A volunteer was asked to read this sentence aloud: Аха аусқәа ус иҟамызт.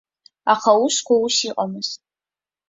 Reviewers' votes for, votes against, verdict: 2, 1, accepted